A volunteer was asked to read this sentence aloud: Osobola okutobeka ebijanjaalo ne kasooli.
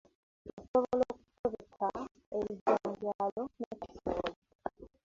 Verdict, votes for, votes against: accepted, 2, 1